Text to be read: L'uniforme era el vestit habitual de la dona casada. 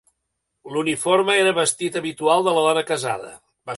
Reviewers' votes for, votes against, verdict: 1, 2, rejected